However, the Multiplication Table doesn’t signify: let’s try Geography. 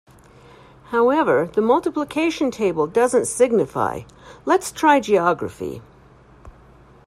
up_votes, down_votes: 2, 0